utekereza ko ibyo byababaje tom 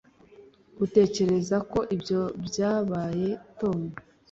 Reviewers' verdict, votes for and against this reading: rejected, 0, 2